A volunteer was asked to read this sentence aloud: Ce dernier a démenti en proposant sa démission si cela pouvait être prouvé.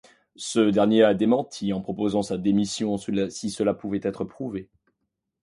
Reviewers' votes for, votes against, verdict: 1, 2, rejected